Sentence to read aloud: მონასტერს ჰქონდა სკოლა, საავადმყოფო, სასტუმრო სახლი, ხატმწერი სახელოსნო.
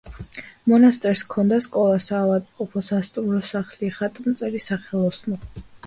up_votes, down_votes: 2, 0